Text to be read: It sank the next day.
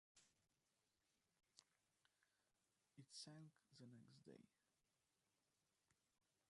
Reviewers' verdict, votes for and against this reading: rejected, 0, 2